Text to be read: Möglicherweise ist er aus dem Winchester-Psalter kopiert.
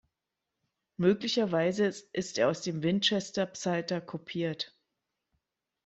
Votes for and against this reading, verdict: 2, 0, accepted